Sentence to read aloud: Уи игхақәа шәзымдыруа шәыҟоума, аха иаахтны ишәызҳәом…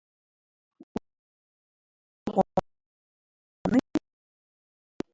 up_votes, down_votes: 0, 2